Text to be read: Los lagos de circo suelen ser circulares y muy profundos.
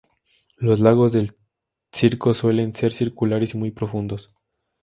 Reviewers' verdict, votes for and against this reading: rejected, 0, 4